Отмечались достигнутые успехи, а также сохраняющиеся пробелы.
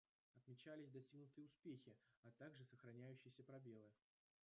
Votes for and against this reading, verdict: 1, 2, rejected